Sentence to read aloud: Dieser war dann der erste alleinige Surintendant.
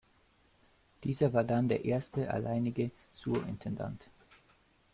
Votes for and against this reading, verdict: 1, 2, rejected